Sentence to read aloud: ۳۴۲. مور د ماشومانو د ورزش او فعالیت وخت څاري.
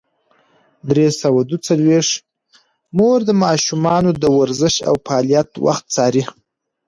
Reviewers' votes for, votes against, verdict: 0, 2, rejected